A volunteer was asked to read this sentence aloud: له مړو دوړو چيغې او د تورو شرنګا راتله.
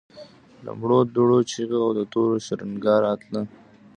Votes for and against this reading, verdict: 1, 2, rejected